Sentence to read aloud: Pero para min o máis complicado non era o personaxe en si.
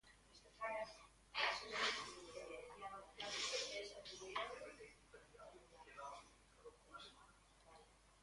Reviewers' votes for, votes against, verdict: 0, 2, rejected